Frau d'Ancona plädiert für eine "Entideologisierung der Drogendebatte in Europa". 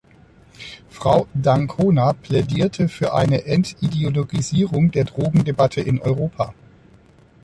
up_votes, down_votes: 0, 2